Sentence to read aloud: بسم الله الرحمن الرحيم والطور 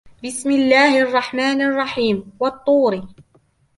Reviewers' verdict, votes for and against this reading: accepted, 2, 1